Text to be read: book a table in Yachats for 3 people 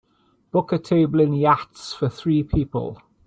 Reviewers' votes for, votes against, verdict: 0, 2, rejected